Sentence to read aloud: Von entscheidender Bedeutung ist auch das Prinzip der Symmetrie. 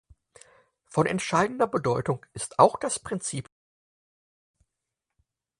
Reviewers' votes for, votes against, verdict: 0, 4, rejected